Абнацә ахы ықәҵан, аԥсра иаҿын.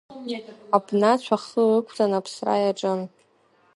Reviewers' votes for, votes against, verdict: 1, 2, rejected